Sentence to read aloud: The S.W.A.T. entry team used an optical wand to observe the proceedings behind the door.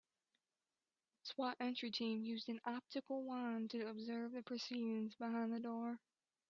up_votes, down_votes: 1, 2